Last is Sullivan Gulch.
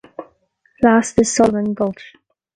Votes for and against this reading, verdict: 2, 0, accepted